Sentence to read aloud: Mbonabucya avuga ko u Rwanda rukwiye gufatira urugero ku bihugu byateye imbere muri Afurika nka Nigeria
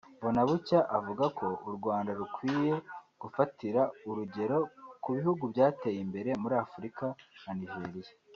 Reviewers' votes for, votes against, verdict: 4, 0, accepted